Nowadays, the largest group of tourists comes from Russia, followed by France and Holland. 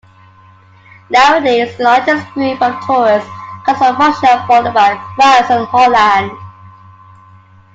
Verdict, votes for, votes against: rejected, 0, 2